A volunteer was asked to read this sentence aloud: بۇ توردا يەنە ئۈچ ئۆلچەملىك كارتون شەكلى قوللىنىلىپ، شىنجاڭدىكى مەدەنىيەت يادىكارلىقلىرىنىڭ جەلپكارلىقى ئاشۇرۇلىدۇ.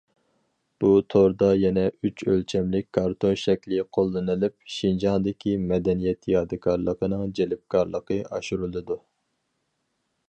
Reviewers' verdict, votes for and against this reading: rejected, 2, 2